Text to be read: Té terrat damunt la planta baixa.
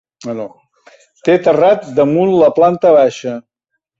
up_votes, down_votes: 1, 2